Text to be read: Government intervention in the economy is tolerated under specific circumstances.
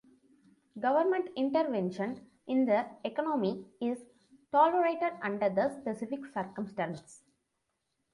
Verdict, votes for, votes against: rejected, 0, 2